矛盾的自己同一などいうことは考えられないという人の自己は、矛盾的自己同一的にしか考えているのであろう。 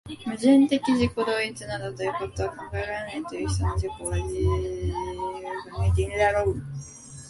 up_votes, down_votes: 1, 2